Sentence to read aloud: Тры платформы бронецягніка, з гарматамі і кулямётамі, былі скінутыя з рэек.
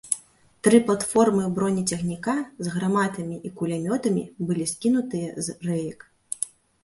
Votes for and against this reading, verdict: 2, 0, accepted